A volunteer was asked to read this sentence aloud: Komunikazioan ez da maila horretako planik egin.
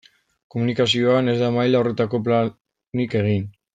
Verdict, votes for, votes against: accepted, 2, 0